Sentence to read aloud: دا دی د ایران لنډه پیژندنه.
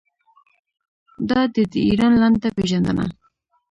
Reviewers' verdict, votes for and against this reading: rejected, 1, 2